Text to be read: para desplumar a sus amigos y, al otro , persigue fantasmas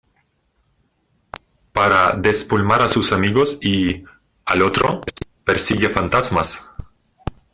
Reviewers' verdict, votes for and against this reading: accepted, 2, 1